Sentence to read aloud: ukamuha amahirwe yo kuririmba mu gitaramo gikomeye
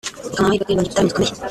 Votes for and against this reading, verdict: 0, 2, rejected